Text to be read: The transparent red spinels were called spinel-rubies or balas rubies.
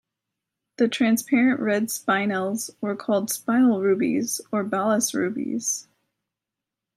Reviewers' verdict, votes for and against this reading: rejected, 0, 2